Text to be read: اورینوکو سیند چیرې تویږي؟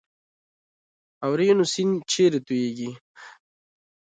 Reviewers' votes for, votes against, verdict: 2, 0, accepted